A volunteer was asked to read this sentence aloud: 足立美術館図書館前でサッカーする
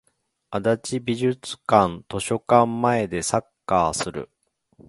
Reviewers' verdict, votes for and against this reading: accepted, 2, 1